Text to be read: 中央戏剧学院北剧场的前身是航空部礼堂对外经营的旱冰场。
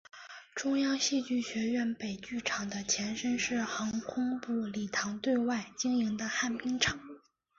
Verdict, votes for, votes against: accepted, 3, 0